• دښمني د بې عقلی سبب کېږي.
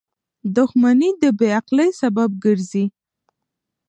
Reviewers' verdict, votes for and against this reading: rejected, 1, 2